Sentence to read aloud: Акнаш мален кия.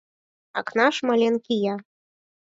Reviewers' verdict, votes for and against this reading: rejected, 0, 4